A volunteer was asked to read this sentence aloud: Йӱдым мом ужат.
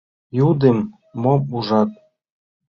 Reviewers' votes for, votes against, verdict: 1, 2, rejected